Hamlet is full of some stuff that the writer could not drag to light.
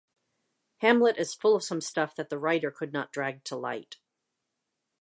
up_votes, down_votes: 2, 0